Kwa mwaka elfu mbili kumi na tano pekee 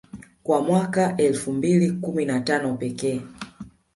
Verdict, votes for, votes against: accepted, 2, 0